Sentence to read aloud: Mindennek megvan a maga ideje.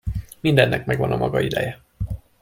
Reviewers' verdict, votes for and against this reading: accepted, 2, 0